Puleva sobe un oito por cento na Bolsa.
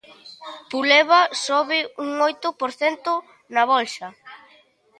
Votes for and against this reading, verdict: 2, 0, accepted